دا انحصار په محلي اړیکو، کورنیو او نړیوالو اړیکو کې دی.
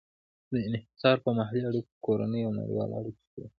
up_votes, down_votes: 2, 0